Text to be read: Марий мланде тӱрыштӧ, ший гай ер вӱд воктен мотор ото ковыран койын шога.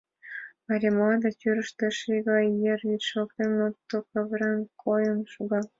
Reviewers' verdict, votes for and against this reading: rejected, 0, 2